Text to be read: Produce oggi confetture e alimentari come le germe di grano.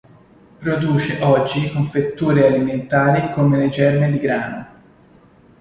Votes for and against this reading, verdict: 1, 2, rejected